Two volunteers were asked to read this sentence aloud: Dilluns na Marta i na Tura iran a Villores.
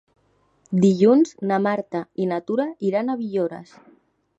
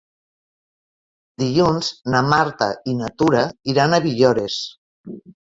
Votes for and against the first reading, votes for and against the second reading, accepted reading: 4, 1, 0, 2, first